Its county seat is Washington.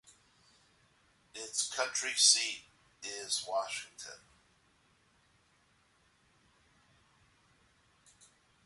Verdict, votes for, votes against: accepted, 2, 1